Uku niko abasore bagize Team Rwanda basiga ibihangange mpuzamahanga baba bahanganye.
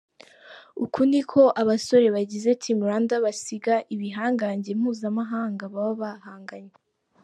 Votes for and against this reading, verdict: 3, 0, accepted